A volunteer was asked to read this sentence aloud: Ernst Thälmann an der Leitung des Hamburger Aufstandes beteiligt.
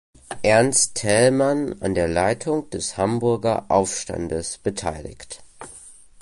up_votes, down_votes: 2, 0